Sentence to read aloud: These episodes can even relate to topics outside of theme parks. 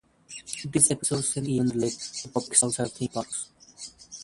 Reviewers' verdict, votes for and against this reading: rejected, 0, 3